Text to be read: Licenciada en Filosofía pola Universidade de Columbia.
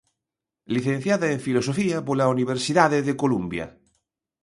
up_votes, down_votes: 2, 0